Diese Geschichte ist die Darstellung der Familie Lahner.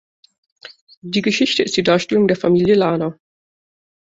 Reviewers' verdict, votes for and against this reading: rejected, 0, 2